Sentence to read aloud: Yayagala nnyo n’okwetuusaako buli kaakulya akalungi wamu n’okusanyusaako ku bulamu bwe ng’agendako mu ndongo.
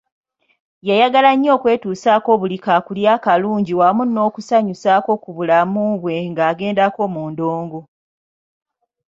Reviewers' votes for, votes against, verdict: 0, 2, rejected